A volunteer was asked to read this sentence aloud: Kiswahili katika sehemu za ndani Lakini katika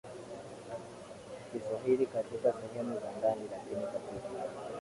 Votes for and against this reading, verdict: 0, 2, rejected